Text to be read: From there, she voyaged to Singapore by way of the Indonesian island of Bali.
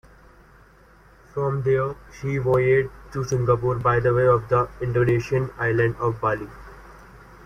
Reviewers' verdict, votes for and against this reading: rejected, 1, 2